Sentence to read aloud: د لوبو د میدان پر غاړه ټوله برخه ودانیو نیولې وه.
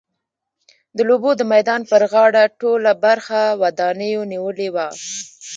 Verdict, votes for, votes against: rejected, 0, 2